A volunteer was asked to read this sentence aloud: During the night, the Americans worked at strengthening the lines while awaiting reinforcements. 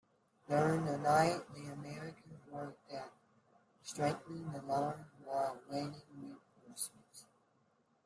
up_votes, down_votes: 0, 2